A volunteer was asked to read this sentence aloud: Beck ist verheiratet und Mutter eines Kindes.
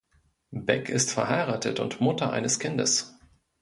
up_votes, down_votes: 2, 0